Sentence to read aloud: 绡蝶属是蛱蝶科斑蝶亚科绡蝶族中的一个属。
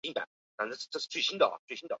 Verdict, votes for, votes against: rejected, 0, 2